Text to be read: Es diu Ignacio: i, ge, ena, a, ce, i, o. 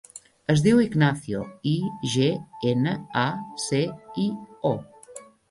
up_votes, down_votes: 3, 0